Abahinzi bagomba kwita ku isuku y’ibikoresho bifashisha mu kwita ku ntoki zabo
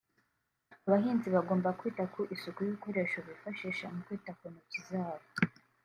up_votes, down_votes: 2, 0